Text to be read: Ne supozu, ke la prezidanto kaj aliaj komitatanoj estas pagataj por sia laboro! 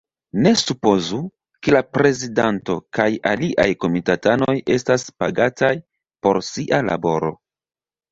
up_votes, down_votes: 2, 0